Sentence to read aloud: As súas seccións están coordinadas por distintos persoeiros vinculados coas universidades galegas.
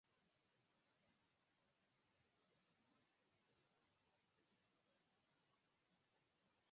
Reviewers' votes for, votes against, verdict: 0, 4, rejected